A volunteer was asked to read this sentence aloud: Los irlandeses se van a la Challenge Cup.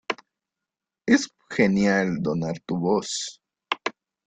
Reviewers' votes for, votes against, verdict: 0, 2, rejected